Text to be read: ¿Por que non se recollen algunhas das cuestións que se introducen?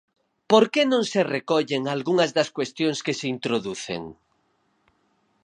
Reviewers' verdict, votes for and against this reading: accepted, 4, 0